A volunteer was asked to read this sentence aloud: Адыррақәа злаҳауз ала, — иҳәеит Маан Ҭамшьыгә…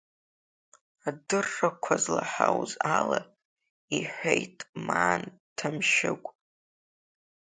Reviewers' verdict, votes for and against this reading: rejected, 0, 2